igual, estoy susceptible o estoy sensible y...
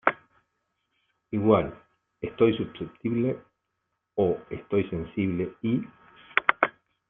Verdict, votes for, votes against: accepted, 2, 1